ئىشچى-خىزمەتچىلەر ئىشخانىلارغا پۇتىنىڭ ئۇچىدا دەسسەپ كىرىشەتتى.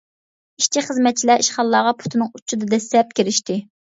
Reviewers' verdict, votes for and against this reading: rejected, 1, 2